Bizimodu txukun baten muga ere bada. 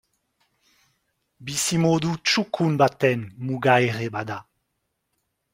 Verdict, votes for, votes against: accepted, 2, 0